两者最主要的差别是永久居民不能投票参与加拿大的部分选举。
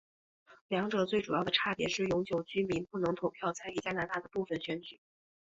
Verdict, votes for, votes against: accepted, 2, 0